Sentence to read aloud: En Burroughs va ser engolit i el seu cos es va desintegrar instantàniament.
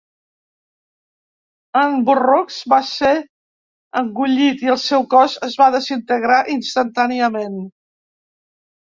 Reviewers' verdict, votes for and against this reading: rejected, 0, 2